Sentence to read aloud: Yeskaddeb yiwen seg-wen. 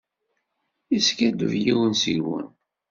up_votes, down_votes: 2, 0